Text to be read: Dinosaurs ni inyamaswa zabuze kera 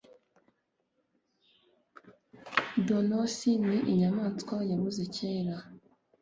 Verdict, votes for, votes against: rejected, 1, 2